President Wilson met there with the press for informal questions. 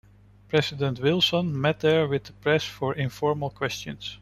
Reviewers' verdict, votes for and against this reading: accepted, 2, 1